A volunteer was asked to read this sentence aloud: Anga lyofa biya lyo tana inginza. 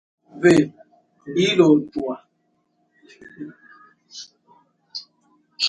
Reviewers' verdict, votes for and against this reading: rejected, 0, 3